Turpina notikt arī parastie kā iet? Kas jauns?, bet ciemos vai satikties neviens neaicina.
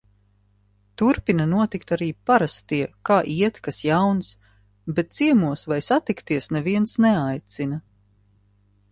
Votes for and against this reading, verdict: 2, 0, accepted